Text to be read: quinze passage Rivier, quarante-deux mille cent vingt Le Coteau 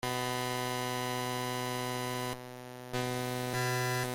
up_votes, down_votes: 0, 2